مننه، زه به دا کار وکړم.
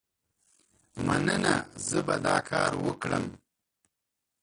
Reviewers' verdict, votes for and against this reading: rejected, 0, 2